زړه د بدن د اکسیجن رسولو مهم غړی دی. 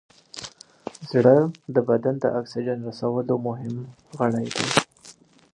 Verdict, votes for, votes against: rejected, 1, 2